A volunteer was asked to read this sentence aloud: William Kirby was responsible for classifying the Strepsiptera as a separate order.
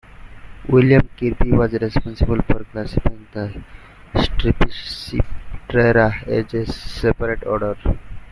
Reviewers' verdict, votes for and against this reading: rejected, 1, 2